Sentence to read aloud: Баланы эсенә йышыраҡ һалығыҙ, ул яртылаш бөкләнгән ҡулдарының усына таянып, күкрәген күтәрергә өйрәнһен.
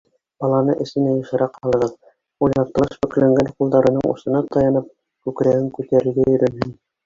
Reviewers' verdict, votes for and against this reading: rejected, 1, 2